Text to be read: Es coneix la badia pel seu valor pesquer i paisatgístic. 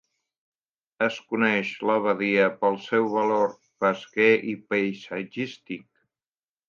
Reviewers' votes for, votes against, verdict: 2, 0, accepted